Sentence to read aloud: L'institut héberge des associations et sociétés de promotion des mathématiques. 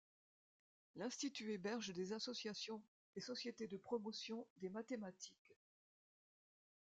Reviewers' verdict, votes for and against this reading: rejected, 1, 2